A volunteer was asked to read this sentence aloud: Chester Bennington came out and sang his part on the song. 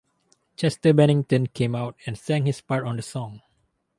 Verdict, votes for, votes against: accepted, 4, 0